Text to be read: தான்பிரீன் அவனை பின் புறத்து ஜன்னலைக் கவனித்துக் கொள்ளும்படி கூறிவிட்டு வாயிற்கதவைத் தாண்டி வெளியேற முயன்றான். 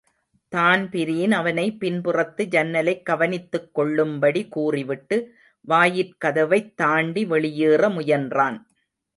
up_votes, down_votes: 2, 0